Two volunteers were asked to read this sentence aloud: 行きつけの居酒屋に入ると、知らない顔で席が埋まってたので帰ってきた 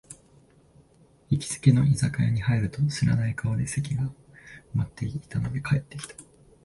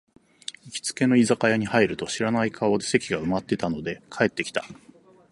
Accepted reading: second